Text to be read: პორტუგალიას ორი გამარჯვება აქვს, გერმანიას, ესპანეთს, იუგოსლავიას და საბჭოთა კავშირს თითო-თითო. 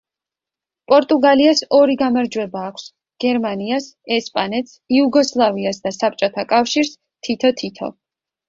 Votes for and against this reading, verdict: 2, 0, accepted